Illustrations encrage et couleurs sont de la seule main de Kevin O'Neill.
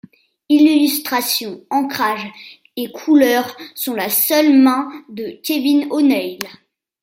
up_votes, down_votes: 1, 2